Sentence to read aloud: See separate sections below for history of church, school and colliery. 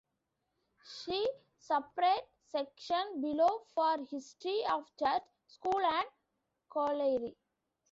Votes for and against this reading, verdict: 0, 2, rejected